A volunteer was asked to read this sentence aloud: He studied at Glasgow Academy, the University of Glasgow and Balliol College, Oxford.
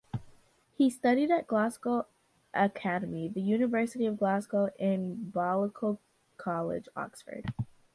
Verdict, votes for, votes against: rejected, 1, 2